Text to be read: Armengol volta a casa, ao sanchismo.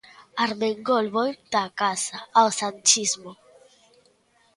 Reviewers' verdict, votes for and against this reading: accepted, 2, 0